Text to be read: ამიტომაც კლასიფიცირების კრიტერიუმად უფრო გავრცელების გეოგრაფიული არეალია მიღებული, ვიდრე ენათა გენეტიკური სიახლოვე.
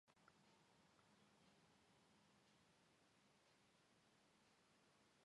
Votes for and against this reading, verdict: 0, 2, rejected